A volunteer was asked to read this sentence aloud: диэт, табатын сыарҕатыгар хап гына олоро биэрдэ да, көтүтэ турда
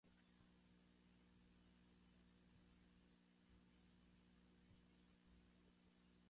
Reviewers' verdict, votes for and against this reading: rejected, 0, 2